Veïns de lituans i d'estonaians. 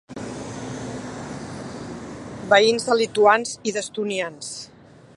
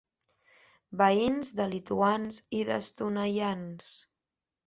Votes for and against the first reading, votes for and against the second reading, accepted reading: 1, 2, 3, 0, second